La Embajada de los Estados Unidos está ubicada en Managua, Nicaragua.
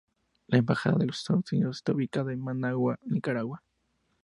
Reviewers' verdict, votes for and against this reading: accepted, 2, 0